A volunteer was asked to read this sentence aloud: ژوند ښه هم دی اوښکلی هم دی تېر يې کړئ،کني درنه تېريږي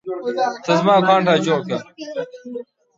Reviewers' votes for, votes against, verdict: 0, 2, rejected